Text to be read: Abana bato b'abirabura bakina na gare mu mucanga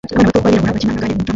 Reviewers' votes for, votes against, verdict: 0, 2, rejected